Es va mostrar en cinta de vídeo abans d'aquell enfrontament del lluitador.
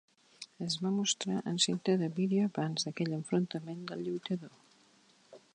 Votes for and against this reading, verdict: 3, 0, accepted